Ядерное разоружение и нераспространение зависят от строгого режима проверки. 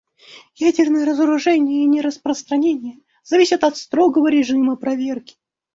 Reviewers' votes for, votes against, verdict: 1, 2, rejected